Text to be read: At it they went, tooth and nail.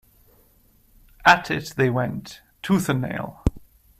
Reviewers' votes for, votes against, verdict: 2, 0, accepted